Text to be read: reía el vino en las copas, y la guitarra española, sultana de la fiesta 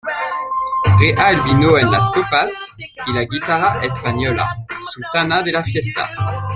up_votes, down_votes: 1, 2